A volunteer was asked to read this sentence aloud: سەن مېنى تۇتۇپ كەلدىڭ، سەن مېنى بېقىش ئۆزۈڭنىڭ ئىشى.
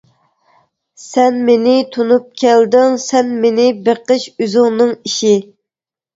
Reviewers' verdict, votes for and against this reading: rejected, 0, 2